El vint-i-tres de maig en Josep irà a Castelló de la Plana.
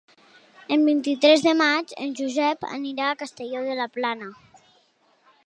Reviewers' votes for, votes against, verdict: 1, 2, rejected